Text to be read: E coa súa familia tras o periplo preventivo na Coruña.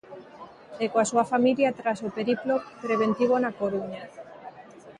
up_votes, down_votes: 2, 0